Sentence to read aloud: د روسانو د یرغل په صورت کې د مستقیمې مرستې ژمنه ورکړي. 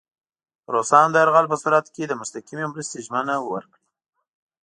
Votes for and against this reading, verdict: 1, 2, rejected